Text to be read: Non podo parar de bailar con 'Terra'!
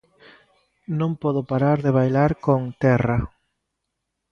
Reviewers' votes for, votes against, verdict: 2, 0, accepted